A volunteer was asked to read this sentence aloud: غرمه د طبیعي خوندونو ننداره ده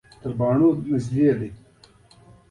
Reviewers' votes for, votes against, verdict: 1, 2, rejected